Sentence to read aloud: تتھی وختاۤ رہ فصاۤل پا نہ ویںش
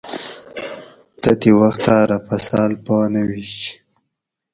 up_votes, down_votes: 2, 2